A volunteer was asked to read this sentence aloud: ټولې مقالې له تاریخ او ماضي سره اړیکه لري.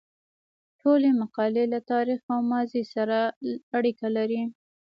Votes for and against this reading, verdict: 1, 2, rejected